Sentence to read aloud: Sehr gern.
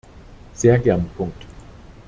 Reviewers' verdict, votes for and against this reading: rejected, 0, 2